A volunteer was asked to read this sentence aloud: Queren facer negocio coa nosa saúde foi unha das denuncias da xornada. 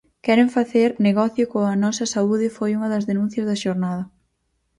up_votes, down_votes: 4, 0